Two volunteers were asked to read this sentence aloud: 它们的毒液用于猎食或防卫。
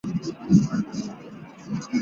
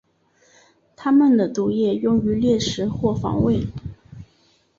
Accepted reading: second